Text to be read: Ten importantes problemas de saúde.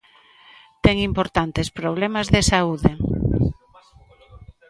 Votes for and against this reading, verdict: 1, 2, rejected